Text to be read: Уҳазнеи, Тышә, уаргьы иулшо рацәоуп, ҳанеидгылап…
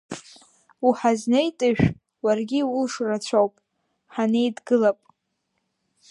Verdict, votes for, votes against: rejected, 0, 2